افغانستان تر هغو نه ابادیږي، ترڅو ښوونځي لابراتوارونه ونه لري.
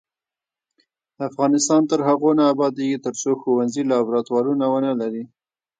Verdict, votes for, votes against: rejected, 1, 2